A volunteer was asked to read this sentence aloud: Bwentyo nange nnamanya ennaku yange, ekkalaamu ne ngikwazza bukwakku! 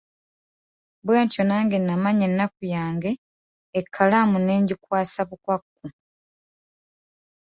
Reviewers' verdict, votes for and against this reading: rejected, 1, 2